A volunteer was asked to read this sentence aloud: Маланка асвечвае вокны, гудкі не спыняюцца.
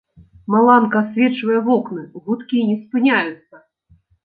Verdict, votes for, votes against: accepted, 2, 0